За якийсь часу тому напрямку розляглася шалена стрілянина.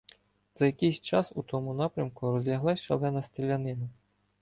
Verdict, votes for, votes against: rejected, 0, 2